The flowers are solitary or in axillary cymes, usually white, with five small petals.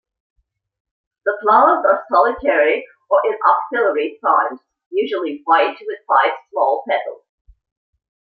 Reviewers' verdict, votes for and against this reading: accepted, 2, 1